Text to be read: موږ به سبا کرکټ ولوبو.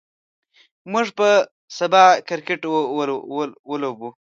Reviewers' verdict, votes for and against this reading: rejected, 1, 2